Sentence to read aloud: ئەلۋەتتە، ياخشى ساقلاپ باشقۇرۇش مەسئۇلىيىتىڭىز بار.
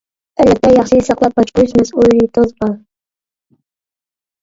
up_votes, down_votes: 0, 2